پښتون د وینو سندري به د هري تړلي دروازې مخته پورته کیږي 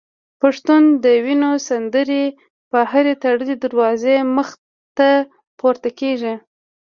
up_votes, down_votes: 2, 0